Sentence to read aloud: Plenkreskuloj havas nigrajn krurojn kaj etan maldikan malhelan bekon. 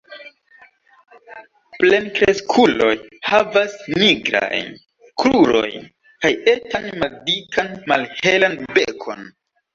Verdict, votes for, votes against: rejected, 1, 2